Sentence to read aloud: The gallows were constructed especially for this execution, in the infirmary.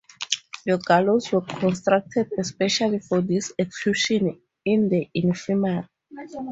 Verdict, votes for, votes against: rejected, 0, 4